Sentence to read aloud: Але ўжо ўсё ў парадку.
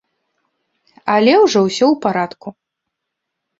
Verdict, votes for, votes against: accepted, 2, 0